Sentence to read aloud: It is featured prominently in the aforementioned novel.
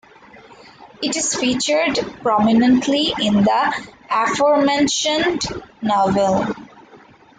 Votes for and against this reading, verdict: 2, 0, accepted